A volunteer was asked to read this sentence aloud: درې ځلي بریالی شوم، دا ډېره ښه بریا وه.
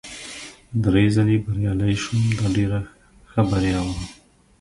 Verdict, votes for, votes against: rejected, 1, 2